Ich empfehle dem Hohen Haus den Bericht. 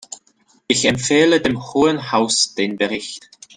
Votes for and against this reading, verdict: 2, 0, accepted